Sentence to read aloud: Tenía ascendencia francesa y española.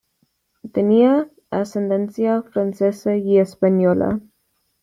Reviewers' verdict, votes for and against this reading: accepted, 2, 0